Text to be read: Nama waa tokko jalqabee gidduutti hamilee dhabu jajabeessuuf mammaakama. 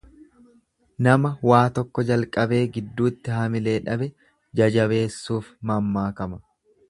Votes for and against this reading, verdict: 1, 2, rejected